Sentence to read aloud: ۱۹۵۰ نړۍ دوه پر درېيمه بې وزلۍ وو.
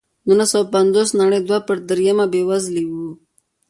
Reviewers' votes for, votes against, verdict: 0, 2, rejected